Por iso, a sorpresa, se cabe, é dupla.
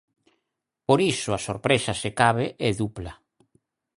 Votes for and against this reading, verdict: 4, 0, accepted